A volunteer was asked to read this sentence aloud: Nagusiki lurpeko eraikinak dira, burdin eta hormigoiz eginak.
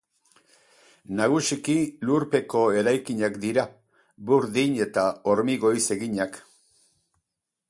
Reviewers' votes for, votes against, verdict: 2, 2, rejected